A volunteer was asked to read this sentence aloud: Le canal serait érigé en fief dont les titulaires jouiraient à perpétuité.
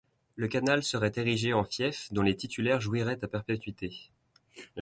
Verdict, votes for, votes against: accepted, 2, 0